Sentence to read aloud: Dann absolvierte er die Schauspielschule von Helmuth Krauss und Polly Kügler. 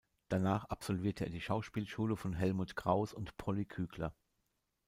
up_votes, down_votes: 0, 2